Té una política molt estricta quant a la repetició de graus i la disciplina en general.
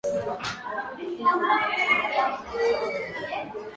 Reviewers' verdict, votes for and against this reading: rejected, 0, 2